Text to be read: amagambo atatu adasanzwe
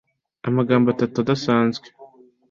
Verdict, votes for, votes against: accepted, 2, 0